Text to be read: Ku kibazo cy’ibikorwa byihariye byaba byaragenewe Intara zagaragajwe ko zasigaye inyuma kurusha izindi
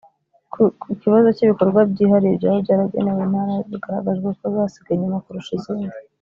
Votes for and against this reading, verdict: 1, 2, rejected